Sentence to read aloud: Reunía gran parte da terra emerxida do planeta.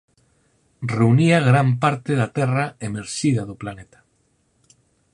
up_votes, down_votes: 4, 0